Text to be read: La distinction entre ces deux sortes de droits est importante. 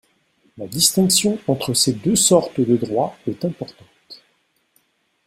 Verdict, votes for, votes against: accepted, 2, 0